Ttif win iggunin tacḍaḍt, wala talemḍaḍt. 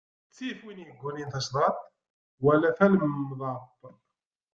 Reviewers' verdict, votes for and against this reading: rejected, 1, 2